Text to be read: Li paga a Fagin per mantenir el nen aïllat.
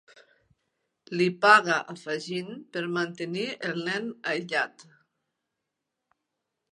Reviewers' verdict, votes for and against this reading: accepted, 3, 0